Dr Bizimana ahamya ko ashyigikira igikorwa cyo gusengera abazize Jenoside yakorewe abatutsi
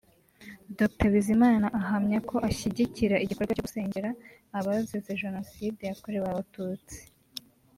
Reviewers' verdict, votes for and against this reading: accepted, 3, 0